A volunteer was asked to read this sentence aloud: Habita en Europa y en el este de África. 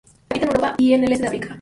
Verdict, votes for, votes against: rejected, 0, 2